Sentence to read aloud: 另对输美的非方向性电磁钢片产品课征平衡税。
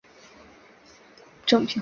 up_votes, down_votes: 0, 2